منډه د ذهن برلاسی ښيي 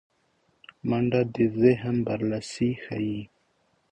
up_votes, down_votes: 2, 0